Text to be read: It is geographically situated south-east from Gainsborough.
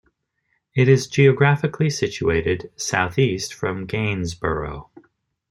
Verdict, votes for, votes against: accepted, 2, 1